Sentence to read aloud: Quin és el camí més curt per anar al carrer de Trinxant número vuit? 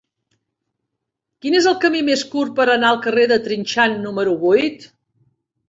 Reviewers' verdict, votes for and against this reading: accepted, 3, 0